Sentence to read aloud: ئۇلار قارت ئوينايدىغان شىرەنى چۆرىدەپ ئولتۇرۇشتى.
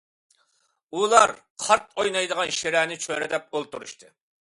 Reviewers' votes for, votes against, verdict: 2, 0, accepted